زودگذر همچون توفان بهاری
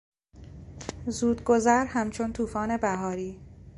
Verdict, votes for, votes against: accepted, 2, 0